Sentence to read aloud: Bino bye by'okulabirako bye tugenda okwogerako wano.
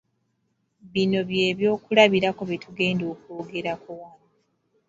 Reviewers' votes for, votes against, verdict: 1, 2, rejected